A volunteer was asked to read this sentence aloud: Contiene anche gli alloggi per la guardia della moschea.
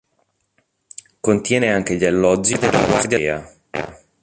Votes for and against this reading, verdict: 0, 2, rejected